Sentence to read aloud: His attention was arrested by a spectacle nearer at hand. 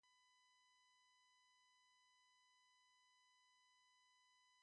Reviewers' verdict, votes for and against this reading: rejected, 0, 3